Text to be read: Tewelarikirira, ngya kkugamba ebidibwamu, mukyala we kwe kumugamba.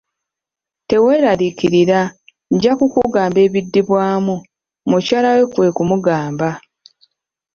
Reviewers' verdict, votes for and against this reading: rejected, 0, 2